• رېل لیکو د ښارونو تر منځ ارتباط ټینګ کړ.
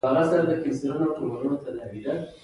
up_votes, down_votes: 2, 0